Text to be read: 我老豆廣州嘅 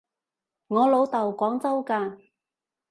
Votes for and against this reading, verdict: 0, 2, rejected